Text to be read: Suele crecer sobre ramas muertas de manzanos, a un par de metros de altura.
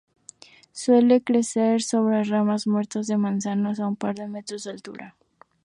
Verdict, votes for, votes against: accepted, 2, 0